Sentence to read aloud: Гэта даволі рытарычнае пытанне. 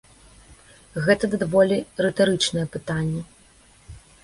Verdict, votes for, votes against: rejected, 1, 2